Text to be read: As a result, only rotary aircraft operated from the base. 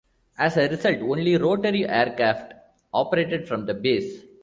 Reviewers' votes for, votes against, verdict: 2, 0, accepted